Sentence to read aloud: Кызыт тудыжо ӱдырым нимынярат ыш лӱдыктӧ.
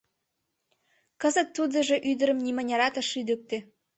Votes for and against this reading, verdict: 2, 0, accepted